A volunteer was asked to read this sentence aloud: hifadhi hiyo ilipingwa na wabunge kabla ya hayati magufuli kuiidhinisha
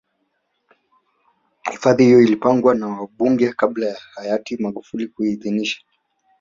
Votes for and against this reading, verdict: 0, 2, rejected